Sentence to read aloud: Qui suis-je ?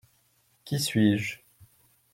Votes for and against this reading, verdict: 2, 0, accepted